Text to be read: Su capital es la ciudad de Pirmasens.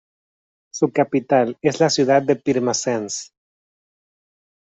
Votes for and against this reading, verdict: 2, 0, accepted